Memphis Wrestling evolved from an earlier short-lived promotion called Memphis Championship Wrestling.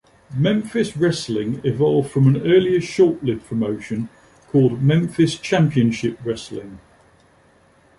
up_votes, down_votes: 2, 0